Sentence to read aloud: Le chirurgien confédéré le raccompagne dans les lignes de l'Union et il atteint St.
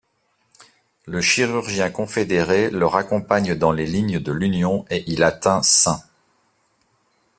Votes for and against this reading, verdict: 2, 0, accepted